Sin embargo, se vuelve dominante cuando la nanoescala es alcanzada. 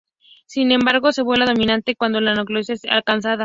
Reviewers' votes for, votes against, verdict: 0, 2, rejected